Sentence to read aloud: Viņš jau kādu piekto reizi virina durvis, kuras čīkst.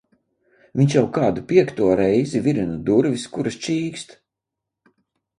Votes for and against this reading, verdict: 2, 0, accepted